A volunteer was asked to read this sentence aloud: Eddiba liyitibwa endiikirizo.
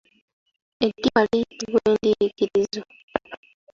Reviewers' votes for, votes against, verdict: 1, 2, rejected